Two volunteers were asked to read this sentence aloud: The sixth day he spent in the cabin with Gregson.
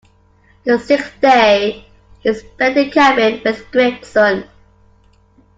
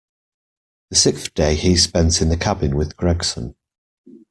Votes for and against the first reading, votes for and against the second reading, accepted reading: 0, 2, 2, 1, second